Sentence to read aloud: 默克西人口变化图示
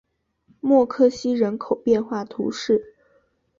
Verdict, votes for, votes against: accepted, 4, 0